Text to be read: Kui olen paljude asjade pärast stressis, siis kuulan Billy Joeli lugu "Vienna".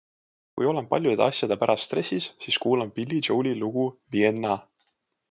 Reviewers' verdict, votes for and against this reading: accepted, 2, 0